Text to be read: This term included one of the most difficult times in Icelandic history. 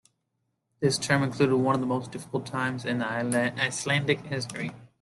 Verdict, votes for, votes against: rejected, 0, 2